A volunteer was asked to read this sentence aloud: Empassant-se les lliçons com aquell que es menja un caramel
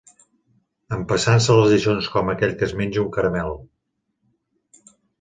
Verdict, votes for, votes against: accepted, 2, 0